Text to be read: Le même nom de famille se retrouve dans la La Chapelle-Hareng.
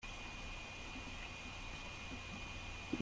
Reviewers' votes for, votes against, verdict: 0, 2, rejected